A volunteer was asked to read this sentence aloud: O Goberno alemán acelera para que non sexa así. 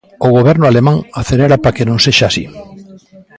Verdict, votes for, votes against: rejected, 1, 2